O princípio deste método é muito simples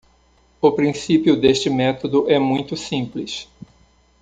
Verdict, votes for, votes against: accepted, 2, 0